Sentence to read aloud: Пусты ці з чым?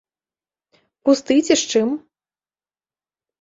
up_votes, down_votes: 2, 0